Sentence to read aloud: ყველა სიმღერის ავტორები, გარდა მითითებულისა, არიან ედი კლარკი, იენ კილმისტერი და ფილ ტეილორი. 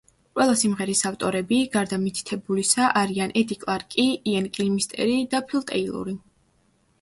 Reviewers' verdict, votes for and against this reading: rejected, 1, 2